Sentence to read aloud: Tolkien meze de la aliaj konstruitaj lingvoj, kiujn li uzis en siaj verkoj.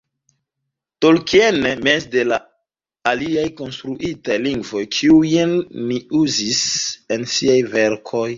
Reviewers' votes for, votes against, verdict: 0, 2, rejected